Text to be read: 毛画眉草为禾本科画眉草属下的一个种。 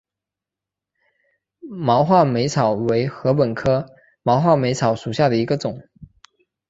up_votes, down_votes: 2, 0